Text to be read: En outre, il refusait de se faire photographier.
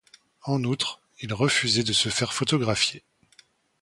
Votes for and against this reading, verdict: 2, 0, accepted